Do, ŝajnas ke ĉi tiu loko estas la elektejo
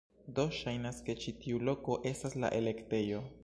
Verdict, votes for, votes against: accepted, 3, 0